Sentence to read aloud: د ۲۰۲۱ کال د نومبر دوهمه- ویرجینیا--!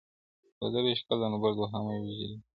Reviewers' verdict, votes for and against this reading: rejected, 0, 2